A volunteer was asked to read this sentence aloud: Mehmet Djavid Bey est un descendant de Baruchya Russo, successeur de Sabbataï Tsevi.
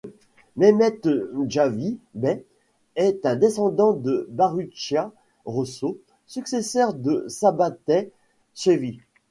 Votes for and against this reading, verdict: 1, 2, rejected